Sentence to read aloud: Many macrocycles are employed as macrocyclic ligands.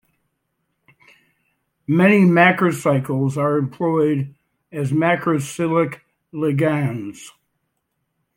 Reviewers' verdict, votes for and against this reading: accepted, 2, 1